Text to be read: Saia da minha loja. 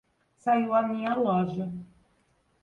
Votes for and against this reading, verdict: 1, 2, rejected